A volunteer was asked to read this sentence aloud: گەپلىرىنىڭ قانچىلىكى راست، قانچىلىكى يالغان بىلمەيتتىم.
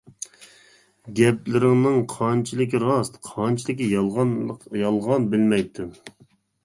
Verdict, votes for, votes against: rejected, 1, 2